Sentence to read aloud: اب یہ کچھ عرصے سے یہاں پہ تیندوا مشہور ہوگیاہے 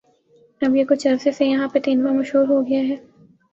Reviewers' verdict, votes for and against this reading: accepted, 3, 0